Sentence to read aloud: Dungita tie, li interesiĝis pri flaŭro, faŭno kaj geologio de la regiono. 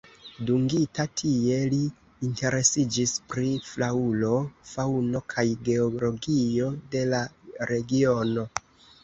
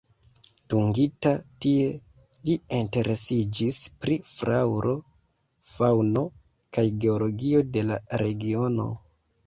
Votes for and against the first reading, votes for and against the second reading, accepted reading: 2, 1, 0, 2, first